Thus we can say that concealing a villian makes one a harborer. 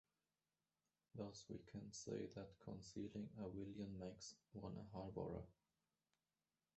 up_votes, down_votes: 0, 2